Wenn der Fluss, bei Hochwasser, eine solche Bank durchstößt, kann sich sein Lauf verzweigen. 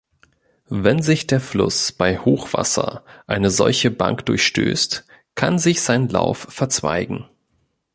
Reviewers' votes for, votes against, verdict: 0, 2, rejected